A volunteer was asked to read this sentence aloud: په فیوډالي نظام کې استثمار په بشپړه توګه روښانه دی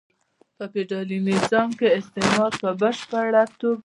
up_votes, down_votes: 1, 2